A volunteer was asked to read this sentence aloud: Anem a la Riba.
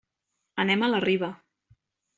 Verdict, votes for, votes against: accepted, 3, 0